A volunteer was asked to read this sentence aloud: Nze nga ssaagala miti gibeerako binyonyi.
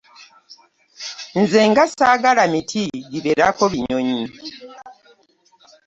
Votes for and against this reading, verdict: 2, 0, accepted